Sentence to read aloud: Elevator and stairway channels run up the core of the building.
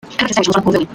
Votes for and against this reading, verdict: 0, 2, rejected